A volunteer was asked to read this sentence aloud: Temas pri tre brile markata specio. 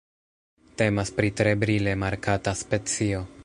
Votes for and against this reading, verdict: 2, 0, accepted